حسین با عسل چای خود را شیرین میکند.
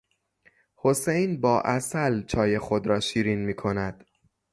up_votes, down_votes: 3, 0